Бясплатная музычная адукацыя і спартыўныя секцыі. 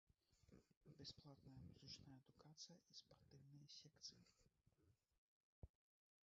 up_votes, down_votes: 1, 3